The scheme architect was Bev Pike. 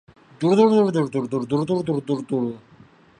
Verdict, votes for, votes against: rejected, 0, 2